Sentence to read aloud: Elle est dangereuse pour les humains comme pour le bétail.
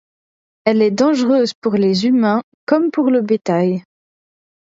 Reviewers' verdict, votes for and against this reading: accepted, 2, 0